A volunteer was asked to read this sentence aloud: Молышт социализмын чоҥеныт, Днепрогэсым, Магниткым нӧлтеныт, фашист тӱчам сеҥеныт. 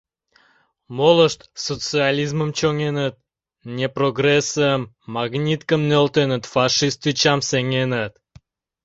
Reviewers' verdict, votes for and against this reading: rejected, 0, 2